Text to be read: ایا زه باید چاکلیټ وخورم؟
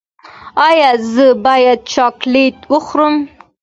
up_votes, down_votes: 2, 0